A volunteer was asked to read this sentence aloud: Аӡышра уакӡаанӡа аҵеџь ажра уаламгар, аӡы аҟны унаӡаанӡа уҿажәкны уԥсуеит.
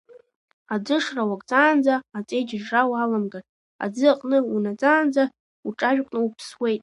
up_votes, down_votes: 0, 2